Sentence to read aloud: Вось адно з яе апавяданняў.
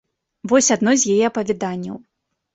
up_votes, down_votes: 2, 1